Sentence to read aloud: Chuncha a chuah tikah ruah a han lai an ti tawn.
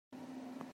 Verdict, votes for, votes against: rejected, 0, 2